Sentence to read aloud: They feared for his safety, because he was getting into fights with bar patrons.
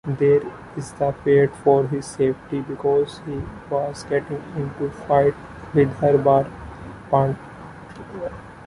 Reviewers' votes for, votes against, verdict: 0, 2, rejected